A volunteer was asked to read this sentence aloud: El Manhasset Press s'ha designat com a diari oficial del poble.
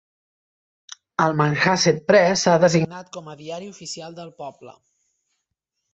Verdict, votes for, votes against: accepted, 2, 0